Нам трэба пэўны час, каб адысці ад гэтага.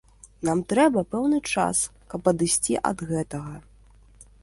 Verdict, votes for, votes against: accepted, 2, 0